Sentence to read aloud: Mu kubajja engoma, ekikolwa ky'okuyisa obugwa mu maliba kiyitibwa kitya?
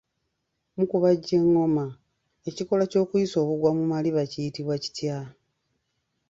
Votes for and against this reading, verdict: 2, 0, accepted